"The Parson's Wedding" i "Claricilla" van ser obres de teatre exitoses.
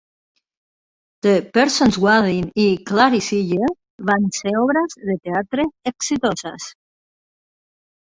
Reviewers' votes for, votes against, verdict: 1, 2, rejected